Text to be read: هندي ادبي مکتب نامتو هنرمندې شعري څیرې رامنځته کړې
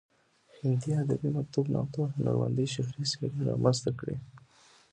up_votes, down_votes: 0, 2